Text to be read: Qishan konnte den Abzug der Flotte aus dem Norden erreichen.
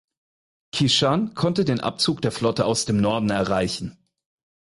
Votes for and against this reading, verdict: 4, 0, accepted